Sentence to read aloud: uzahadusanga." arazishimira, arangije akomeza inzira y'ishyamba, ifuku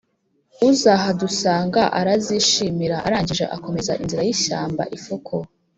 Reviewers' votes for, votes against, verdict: 2, 0, accepted